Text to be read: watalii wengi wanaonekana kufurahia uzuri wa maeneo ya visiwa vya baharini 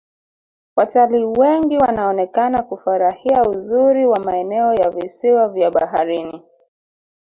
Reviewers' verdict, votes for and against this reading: rejected, 1, 2